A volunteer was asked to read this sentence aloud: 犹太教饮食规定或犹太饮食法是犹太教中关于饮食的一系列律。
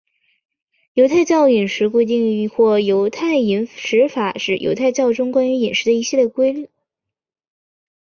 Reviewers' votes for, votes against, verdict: 4, 2, accepted